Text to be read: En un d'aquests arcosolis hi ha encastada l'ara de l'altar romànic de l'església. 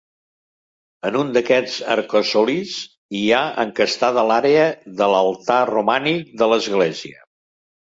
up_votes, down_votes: 1, 4